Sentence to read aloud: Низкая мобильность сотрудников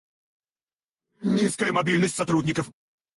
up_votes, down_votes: 2, 4